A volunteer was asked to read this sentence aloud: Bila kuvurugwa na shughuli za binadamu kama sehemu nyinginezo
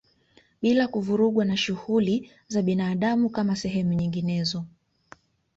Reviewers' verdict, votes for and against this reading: accepted, 2, 1